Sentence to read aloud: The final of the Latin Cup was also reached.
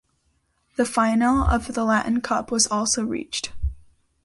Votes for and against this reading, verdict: 2, 0, accepted